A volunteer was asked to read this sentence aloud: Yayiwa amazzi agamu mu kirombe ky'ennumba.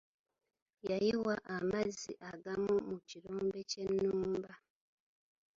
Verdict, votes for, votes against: accepted, 2, 0